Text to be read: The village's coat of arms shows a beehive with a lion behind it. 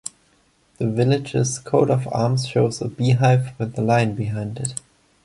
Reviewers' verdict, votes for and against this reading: accepted, 2, 0